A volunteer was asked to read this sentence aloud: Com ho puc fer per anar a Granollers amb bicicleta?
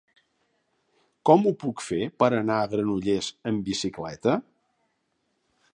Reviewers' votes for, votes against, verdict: 3, 0, accepted